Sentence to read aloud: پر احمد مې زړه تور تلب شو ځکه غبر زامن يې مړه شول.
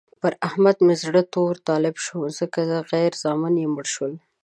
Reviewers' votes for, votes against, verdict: 1, 2, rejected